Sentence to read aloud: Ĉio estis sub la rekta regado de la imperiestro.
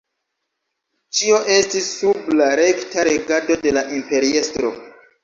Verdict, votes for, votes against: accepted, 2, 0